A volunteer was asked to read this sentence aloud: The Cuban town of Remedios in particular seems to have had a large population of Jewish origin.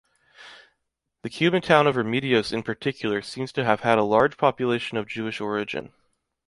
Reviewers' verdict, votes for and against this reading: accepted, 2, 0